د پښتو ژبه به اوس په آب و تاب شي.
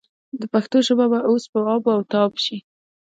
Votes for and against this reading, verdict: 2, 0, accepted